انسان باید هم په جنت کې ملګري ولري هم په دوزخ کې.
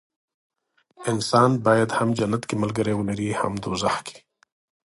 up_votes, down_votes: 2, 0